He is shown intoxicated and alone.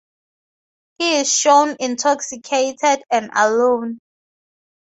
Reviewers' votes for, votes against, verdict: 2, 0, accepted